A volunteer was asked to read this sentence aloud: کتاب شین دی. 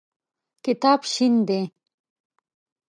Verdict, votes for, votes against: accepted, 2, 0